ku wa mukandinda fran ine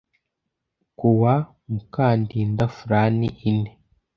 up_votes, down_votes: 2, 0